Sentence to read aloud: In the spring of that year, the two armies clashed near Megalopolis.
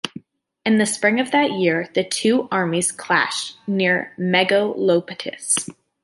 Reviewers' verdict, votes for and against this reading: rejected, 0, 2